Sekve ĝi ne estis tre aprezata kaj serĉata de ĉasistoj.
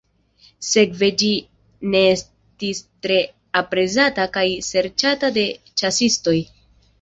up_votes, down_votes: 2, 0